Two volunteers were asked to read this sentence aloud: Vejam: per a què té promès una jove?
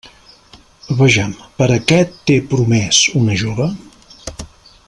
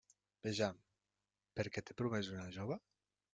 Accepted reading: second